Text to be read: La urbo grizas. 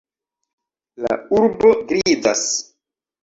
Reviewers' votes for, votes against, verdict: 1, 2, rejected